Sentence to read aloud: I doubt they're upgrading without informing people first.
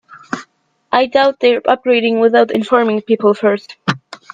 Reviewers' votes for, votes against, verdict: 1, 2, rejected